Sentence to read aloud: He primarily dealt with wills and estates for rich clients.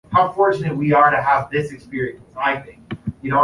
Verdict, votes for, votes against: rejected, 0, 2